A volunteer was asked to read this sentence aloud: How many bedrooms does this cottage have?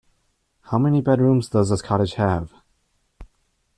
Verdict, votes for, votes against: accepted, 2, 0